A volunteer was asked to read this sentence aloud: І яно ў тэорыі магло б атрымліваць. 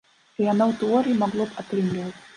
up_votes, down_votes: 0, 2